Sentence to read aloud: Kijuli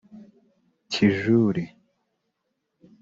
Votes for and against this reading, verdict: 0, 2, rejected